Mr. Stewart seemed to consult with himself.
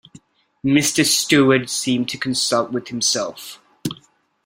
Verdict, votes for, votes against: accepted, 2, 0